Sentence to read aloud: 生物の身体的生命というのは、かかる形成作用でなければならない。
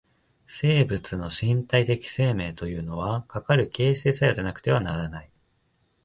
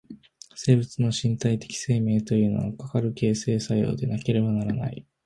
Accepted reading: second